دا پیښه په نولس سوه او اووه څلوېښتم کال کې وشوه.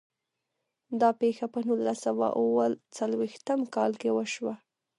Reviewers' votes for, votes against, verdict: 0, 2, rejected